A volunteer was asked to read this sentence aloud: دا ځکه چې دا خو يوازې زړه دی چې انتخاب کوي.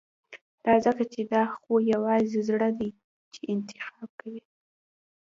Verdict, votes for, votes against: accepted, 2, 0